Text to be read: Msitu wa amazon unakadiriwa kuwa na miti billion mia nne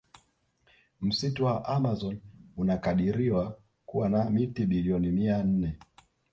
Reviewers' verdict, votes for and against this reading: rejected, 1, 2